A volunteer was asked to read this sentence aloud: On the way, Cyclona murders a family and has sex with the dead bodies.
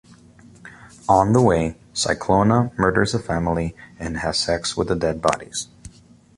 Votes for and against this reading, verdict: 2, 0, accepted